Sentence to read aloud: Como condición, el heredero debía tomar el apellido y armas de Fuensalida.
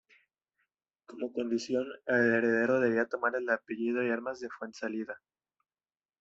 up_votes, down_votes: 1, 2